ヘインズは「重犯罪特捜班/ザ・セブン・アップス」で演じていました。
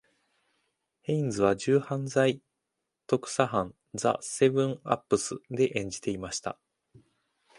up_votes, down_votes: 1, 2